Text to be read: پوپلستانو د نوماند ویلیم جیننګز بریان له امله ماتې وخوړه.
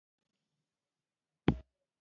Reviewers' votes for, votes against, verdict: 1, 2, rejected